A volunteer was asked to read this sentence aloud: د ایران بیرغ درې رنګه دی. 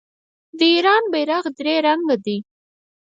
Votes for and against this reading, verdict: 0, 4, rejected